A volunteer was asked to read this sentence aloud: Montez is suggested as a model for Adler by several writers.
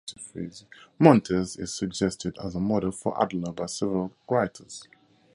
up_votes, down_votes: 4, 0